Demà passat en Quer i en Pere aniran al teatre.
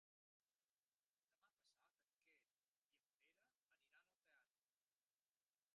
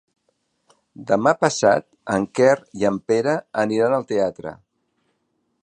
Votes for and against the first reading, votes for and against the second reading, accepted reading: 0, 2, 3, 0, second